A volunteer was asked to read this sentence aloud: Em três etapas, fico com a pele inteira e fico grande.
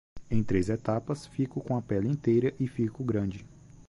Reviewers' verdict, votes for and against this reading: accepted, 2, 0